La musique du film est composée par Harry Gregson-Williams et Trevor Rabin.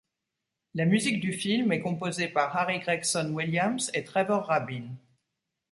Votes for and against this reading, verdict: 2, 0, accepted